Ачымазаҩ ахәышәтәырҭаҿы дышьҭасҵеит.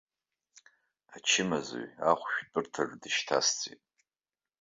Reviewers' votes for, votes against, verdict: 1, 2, rejected